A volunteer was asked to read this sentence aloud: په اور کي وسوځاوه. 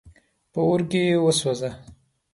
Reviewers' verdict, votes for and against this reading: rejected, 1, 2